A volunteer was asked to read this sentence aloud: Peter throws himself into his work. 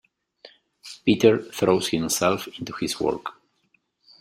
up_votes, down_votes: 2, 0